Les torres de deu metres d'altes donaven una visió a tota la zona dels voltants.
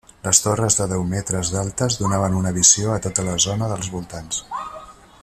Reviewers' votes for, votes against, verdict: 3, 0, accepted